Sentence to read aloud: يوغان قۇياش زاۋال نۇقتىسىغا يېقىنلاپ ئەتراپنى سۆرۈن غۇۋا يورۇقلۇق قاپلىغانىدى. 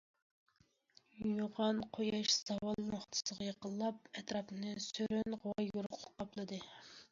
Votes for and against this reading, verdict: 1, 2, rejected